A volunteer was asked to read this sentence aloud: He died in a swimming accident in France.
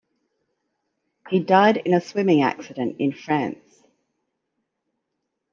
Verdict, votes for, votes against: accepted, 2, 1